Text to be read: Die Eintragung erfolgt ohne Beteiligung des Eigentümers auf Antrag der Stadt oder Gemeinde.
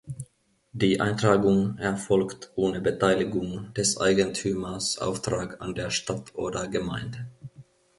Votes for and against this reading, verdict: 0, 2, rejected